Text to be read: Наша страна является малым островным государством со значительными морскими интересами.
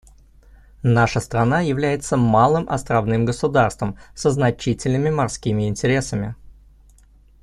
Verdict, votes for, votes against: accepted, 2, 0